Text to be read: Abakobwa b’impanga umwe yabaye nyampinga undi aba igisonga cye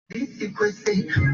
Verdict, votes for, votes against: rejected, 0, 2